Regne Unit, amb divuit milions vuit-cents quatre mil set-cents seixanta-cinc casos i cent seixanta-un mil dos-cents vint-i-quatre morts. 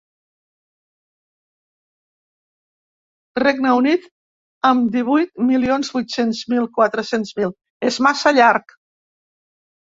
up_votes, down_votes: 0, 2